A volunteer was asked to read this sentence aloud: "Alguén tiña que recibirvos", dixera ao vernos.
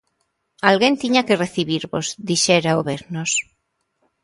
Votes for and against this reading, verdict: 2, 0, accepted